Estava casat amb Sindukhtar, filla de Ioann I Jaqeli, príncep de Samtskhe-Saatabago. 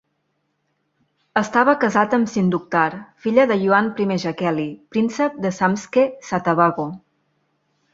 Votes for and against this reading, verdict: 3, 0, accepted